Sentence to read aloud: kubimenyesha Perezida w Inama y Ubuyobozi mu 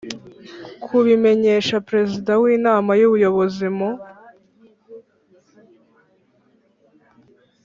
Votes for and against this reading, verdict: 3, 0, accepted